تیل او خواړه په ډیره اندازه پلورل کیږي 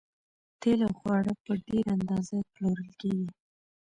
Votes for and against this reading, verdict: 2, 0, accepted